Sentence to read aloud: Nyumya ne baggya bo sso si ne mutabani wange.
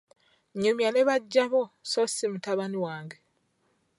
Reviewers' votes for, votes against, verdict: 0, 2, rejected